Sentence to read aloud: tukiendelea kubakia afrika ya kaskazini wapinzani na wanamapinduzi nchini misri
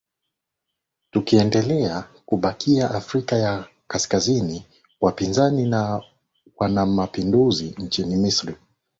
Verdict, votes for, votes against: accepted, 10, 1